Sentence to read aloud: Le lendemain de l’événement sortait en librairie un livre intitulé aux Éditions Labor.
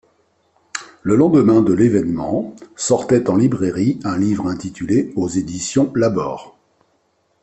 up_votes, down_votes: 2, 0